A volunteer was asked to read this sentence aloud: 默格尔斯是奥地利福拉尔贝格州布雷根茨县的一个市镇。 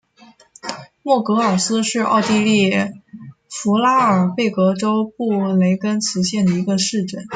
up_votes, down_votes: 2, 1